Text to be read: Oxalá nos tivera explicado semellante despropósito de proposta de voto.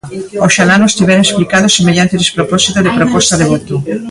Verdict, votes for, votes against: accepted, 2, 1